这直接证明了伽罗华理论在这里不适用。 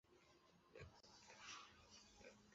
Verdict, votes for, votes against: rejected, 0, 3